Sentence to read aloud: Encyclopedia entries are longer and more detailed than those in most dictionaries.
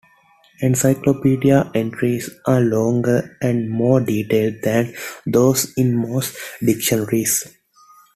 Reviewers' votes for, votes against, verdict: 2, 0, accepted